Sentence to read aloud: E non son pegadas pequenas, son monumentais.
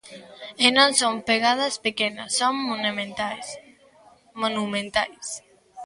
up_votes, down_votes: 0, 3